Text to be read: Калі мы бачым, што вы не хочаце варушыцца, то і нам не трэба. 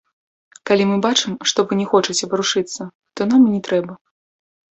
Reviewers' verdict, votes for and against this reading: rejected, 1, 2